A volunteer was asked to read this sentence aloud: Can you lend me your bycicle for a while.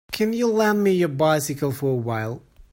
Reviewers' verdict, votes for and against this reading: accepted, 2, 0